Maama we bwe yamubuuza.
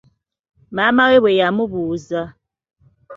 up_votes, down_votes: 2, 0